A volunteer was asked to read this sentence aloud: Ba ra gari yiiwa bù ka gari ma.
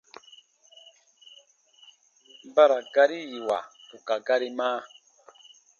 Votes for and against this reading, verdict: 2, 0, accepted